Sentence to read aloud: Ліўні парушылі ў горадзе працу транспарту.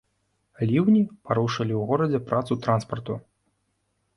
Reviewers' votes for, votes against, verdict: 2, 0, accepted